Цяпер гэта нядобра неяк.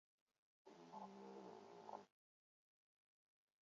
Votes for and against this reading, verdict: 0, 2, rejected